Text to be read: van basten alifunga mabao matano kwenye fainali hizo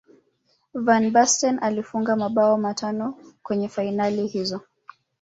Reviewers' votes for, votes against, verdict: 1, 3, rejected